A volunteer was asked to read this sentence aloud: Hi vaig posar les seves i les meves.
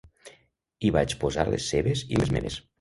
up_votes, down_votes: 3, 0